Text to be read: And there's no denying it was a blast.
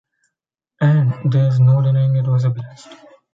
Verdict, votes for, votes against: rejected, 0, 2